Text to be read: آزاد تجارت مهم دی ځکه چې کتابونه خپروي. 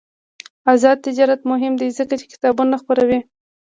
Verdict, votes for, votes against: accepted, 2, 0